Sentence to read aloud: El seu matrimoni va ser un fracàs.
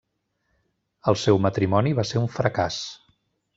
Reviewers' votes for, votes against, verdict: 3, 0, accepted